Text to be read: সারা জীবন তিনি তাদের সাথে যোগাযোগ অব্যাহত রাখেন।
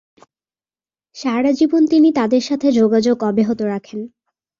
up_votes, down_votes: 5, 0